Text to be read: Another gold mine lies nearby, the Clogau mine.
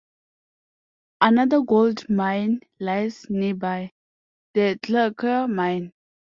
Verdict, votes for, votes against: accepted, 2, 0